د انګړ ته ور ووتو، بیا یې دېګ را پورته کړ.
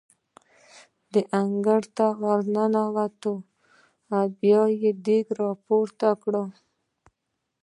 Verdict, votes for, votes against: rejected, 1, 2